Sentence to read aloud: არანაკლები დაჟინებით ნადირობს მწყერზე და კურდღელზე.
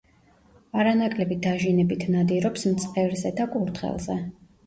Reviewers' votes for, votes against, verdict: 2, 0, accepted